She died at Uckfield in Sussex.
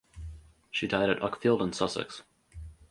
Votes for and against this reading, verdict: 4, 0, accepted